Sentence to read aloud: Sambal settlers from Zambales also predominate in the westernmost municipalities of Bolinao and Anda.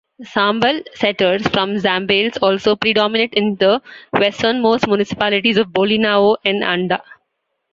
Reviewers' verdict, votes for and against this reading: accepted, 2, 0